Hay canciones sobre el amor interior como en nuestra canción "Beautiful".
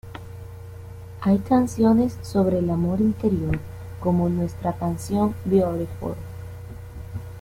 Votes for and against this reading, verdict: 1, 2, rejected